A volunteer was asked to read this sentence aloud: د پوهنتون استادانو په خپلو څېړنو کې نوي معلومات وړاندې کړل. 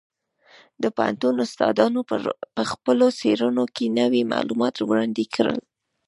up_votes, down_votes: 1, 2